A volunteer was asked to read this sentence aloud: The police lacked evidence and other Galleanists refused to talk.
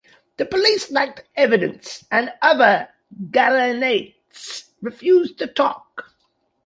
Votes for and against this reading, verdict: 1, 2, rejected